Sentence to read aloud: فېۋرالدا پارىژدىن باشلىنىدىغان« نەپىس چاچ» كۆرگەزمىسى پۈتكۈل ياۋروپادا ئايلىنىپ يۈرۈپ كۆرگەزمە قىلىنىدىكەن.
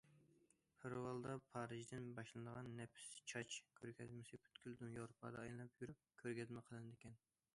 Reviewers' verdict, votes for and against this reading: rejected, 0, 2